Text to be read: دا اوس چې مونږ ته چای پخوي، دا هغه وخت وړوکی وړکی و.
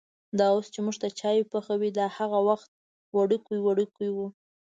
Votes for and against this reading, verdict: 2, 0, accepted